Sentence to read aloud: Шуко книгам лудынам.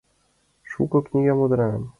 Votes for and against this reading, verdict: 2, 0, accepted